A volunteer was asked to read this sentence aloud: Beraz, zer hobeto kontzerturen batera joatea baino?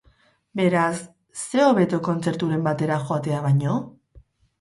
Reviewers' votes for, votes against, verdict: 0, 4, rejected